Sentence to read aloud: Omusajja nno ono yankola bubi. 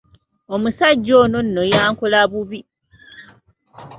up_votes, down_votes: 0, 2